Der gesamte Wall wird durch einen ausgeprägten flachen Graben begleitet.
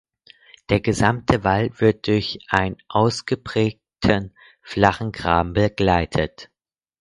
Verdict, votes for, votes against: rejected, 0, 4